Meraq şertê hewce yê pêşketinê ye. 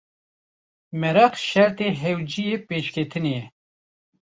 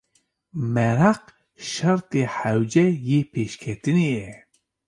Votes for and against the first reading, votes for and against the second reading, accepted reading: 0, 2, 2, 0, second